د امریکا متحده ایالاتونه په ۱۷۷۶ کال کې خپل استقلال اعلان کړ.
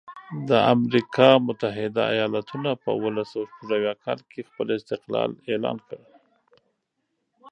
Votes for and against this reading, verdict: 0, 2, rejected